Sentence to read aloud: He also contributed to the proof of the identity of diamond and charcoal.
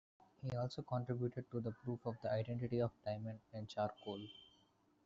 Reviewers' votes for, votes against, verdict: 1, 2, rejected